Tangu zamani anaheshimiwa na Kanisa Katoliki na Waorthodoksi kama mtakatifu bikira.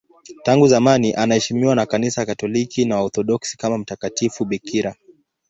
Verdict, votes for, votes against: accepted, 4, 0